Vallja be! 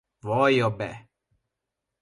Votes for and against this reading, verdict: 2, 0, accepted